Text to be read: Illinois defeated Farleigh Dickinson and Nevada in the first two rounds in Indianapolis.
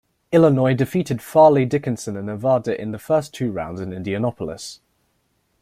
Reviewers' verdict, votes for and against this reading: rejected, 0, 2